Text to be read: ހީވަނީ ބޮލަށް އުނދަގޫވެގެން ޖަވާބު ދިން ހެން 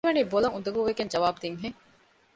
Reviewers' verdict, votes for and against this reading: rejected, 1, 2